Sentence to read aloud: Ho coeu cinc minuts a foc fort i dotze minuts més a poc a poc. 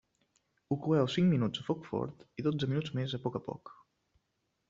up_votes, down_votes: 1, 2